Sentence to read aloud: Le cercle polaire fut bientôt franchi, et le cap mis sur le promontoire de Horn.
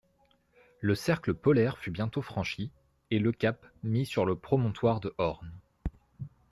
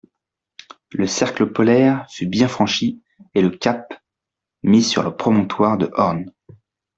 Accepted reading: first